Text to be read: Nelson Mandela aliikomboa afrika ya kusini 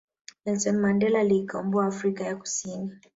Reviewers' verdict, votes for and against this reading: accepted, 4, 1